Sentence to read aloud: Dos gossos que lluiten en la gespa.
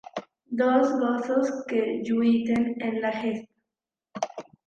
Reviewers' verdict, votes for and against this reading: rejected, 1, 2